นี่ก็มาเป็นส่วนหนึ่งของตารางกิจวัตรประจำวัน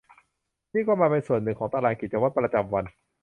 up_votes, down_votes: 2, 0